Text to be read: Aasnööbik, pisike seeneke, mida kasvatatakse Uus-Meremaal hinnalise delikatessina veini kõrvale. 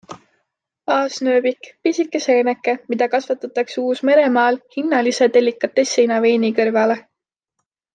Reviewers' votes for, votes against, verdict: 2, 0, accepted